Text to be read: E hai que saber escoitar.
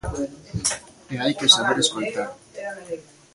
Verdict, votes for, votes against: rejected, 1, 2